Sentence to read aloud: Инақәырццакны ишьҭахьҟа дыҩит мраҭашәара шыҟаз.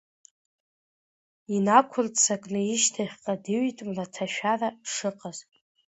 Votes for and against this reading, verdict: 2, 1, accepted